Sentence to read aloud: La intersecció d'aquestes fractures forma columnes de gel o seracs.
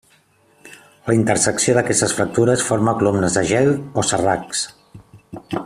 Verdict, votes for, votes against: rejected, 0, 2